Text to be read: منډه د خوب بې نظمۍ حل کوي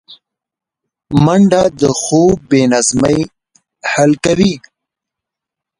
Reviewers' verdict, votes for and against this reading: rejected, 1, 2